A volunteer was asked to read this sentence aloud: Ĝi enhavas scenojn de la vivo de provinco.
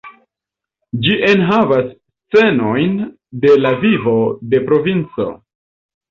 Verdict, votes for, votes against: rejected, 1, 2